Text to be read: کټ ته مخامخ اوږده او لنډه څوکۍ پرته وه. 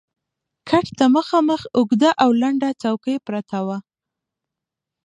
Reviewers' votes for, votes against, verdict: 2, 0, accepted